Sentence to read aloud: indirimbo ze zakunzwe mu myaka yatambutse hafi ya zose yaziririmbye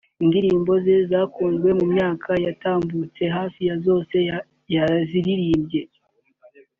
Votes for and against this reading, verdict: 0, 2, rejected